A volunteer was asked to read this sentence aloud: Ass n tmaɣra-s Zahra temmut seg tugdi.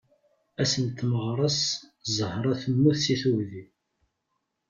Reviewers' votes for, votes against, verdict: 2, 0, accepted